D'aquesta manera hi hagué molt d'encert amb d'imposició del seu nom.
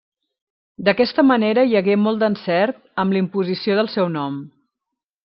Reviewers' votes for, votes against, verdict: 2, 0, accepted